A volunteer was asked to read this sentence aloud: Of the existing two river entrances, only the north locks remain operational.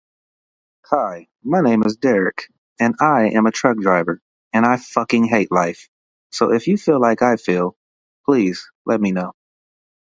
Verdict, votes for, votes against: rejected, 0, 2